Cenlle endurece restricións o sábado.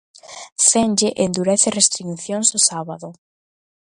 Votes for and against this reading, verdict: 1, 2, rejected